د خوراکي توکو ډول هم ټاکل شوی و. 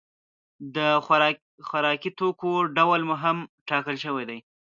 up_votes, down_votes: 1, 2